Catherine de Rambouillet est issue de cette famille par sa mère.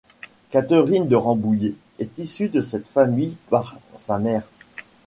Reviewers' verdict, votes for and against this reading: accepted, 2, 0